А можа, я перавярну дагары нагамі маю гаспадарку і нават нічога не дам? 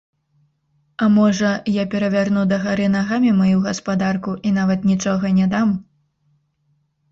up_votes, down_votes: 1, 3